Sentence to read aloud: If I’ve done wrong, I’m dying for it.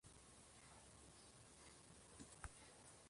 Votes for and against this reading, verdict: 1, 2, rejected